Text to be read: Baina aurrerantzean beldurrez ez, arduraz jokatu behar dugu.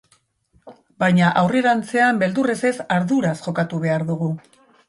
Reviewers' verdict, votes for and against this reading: accepted, 3, 0